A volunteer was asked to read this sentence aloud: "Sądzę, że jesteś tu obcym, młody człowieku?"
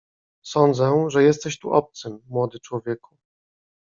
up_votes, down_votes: 2, 0